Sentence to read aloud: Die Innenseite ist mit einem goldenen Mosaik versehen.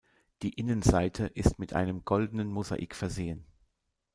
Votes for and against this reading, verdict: 2, 1, accepted